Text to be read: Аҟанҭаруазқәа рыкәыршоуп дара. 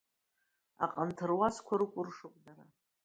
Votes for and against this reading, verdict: 2, 1, accepted